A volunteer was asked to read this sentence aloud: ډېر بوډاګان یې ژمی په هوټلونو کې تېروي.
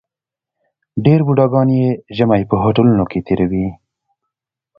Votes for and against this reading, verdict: 2, 0, accepted